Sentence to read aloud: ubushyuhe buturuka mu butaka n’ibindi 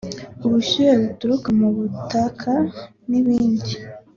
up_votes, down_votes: 2, 0